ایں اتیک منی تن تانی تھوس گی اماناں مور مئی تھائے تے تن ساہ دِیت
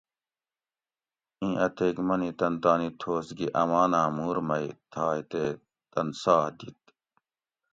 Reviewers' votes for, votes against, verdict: 2, 0, accepted